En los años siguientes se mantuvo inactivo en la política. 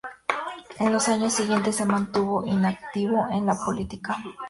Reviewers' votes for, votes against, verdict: 4, 0, accepted